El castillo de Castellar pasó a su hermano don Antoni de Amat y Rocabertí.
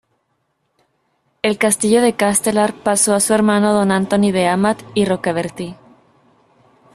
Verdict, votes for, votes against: rejected, 1, 2